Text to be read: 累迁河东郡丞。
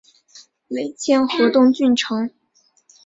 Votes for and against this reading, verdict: 2, 1, accepted